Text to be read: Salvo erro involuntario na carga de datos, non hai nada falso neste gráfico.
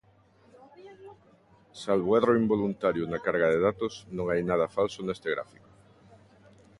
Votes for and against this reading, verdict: 1, 2, rejected